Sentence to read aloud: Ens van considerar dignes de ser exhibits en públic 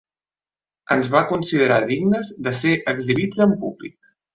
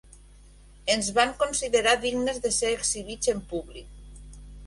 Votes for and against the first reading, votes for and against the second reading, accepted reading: 0, 3, 2, 0, second